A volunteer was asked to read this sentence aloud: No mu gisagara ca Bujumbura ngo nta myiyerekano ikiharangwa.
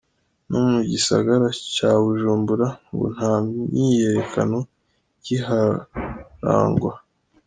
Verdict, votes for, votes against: accepted, 2, 0